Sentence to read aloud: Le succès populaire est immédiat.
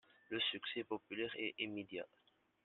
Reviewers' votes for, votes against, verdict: 2, 0, accepted